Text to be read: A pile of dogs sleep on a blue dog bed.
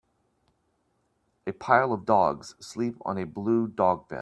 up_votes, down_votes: 1, 2